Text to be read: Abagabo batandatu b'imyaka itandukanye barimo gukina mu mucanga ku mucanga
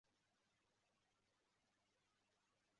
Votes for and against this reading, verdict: 0, 2, rejected